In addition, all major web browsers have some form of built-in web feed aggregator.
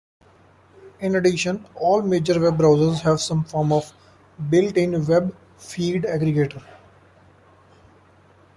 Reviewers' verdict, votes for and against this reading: accepted, 2, 0